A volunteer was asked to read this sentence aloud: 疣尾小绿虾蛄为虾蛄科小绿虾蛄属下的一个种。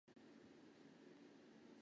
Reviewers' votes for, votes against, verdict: 0, 4, rejected